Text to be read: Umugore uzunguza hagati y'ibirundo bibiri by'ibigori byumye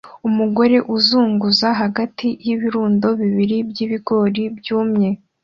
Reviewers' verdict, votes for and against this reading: accepted, 2, 0